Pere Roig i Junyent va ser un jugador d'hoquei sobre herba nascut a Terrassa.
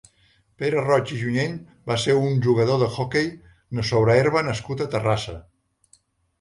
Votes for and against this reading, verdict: 0, 2, rejected